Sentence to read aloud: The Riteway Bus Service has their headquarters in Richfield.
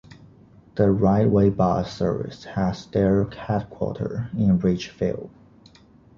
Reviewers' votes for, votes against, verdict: 2, 0, accepted